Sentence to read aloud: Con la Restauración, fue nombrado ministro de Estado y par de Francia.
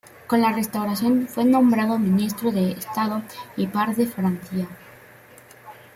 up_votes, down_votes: 2, 0